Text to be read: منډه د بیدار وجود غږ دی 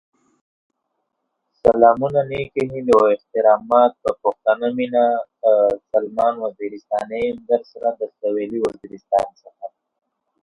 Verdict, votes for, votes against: rejected, 0, 2